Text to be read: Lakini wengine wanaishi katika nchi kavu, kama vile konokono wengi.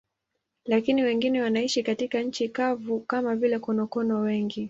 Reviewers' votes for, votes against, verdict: 8, 1, accepted